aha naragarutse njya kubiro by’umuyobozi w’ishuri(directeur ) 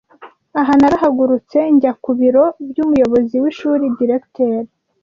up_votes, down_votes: 1, 2